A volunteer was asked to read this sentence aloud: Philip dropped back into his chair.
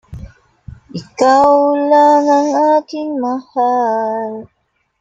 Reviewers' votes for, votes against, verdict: 0, 2, rejected